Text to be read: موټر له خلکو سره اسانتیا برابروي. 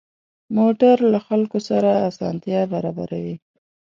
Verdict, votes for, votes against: accepted, 2, 0